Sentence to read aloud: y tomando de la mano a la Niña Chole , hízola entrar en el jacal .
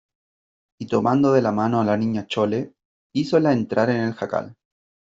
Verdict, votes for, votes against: accepted, 2, 0